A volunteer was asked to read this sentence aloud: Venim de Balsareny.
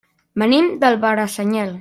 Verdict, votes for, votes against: rejected, 0, 2